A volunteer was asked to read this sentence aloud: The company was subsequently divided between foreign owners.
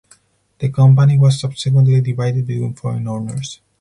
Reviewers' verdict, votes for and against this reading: accepted, 4, 0